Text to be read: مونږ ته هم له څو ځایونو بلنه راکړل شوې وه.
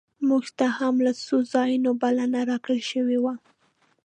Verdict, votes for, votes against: accepted, 2, 0